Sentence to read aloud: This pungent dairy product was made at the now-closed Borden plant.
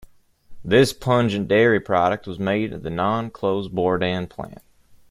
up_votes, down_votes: 2, 0